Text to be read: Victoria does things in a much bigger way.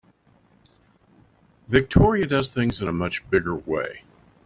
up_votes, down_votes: 3, 0